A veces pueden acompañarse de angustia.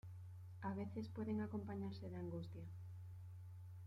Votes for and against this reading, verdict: 2, 1, accepted